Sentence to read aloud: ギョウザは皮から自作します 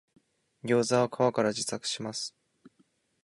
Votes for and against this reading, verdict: 2, 0, accepted